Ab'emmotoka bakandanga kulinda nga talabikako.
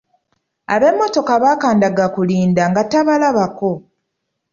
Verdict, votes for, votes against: rejected, 1, 2